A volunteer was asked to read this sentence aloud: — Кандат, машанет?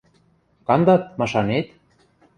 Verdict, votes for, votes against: accepted, 2, 0